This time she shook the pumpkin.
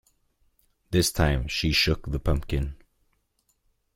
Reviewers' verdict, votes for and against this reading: accepted, 2, 0